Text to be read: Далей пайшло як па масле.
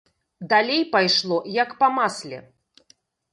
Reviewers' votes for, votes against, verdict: 1, 2, rejected